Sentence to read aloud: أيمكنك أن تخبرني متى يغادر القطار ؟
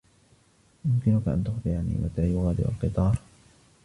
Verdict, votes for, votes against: rejected, 1, 2